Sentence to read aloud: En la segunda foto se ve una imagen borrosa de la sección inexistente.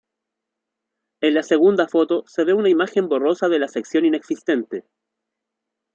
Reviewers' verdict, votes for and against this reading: accepted, 2, 1